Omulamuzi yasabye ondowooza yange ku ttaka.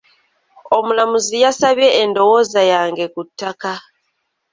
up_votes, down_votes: 2, 0